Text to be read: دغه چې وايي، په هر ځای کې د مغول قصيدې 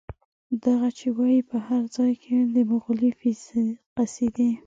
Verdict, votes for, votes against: accepted, 2, 1